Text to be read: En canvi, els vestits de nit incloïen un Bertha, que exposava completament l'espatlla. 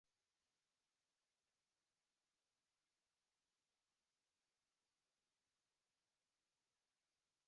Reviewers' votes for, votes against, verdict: 0, 2, rejected